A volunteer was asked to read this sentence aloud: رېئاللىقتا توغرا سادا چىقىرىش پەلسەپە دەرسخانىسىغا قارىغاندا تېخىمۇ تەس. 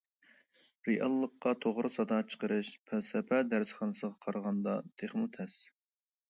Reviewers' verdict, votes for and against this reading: accepted, 2, 0